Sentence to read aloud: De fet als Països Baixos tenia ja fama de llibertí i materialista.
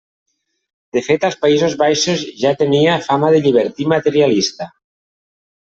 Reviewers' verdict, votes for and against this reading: rejected, 0, 2